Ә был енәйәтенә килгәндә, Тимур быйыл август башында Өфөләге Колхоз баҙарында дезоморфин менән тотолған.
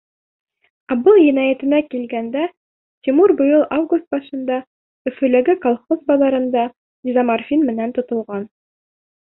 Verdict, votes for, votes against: accepted, 2, 0